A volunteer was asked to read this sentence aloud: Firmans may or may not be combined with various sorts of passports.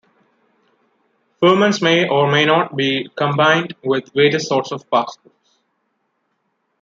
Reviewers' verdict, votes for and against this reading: accepted, 2, 0